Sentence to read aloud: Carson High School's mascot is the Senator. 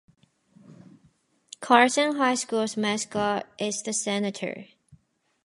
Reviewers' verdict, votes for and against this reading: accepted, 4, 0